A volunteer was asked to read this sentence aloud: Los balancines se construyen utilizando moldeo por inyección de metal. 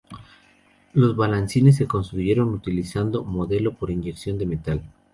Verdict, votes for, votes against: rejected, 0, 2